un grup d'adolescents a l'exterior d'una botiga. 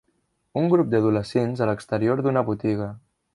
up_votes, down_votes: 3, 0